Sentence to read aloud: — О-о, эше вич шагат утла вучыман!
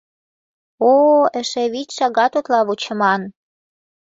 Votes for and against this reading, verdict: 2, 0, accepted